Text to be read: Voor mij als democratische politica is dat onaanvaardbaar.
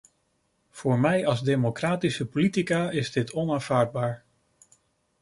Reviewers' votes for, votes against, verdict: 0, 2, rejected